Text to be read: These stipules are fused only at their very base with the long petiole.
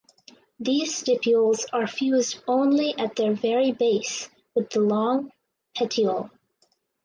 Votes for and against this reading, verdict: 4, 0, accepted